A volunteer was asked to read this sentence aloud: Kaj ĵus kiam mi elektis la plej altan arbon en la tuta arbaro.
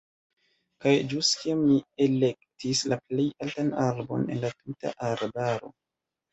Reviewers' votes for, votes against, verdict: 1, 2, rejected